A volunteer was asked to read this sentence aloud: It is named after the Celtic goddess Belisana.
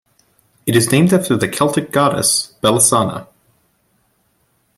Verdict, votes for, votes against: accepted, 2, 0